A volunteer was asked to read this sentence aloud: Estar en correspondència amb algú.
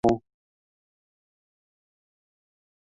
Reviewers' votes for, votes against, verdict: 0, 2, rejected